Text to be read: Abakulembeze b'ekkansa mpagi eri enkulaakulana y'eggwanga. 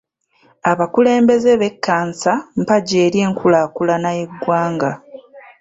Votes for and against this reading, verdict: 1, 2, rejected